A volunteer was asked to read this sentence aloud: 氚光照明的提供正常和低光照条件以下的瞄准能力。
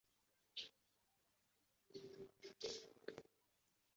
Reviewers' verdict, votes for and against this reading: accepted, 3, 1